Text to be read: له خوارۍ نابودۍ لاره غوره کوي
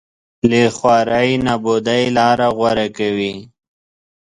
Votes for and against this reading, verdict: 1, 3, rejected